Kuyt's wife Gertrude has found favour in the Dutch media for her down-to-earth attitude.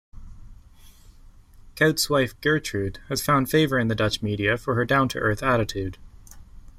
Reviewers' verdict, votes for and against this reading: accepted, 2, 0